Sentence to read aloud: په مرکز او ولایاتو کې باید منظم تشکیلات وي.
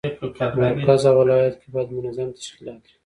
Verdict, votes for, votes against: accepted, 2, 0